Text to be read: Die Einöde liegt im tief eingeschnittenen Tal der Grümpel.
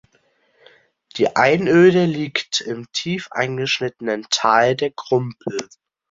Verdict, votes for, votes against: accepted, 2, 1